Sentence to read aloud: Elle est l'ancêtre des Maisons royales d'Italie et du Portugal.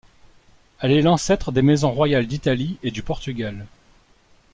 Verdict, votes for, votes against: accepted, 2, 0